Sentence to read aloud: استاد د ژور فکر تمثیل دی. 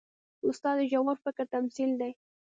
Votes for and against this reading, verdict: 2, 0, accepted